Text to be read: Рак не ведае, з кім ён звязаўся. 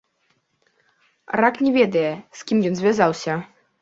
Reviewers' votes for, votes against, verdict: 2, 0, accepted